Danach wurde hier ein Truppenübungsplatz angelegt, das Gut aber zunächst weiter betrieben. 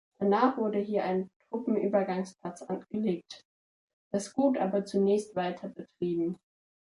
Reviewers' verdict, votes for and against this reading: rejected, 1, 2